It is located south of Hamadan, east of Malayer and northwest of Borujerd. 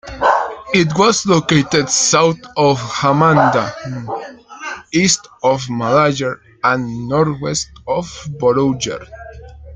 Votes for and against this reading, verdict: 0, 2, rejected